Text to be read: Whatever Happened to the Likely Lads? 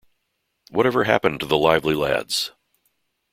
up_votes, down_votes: 0, 2